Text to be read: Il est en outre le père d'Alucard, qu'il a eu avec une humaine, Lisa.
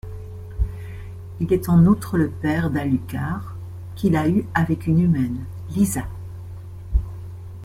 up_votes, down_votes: 2, 0